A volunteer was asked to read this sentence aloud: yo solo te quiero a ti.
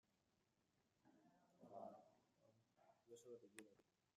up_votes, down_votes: 1, 2